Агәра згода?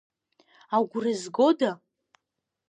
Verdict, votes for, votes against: accepted, 2, 0